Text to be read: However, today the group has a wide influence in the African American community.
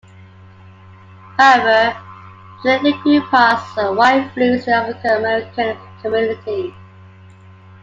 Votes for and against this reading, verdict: 2, 0, accepted